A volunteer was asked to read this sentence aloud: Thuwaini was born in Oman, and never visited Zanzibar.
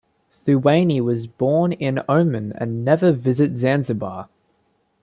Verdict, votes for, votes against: rejected, 1, 2